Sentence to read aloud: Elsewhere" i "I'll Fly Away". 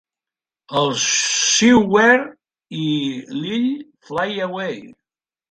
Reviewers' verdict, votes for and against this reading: rejected, 0, 2